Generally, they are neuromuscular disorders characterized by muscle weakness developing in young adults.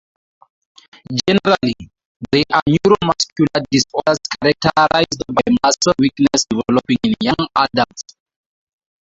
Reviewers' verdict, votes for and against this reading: rejected, 0, 2